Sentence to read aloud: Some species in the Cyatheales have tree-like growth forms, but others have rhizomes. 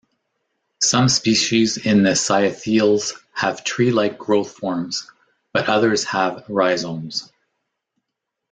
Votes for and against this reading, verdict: 2, 0, accepted